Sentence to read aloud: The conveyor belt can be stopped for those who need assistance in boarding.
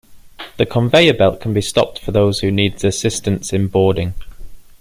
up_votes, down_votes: 2, 0